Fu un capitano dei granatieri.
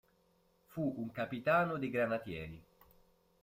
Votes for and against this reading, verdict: 2, 0, accepted